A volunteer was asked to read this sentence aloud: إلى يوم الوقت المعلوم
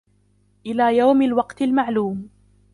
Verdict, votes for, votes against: accepted, 2, 0